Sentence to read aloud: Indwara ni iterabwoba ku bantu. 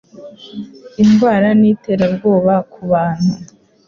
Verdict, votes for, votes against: accepted, 2, 0